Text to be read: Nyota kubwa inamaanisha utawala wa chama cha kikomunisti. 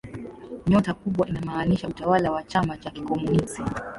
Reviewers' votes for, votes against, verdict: 2, 1, accepted